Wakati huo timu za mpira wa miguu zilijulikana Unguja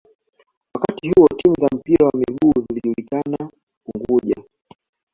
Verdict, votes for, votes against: accepted, 2, 1